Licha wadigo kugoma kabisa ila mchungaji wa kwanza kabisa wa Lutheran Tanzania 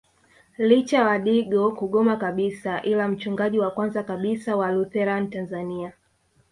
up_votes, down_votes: 2, 1